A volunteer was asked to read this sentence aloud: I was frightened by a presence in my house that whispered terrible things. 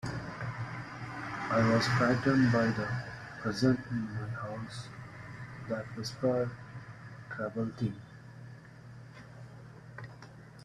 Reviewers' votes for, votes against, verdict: 0, 2, rejected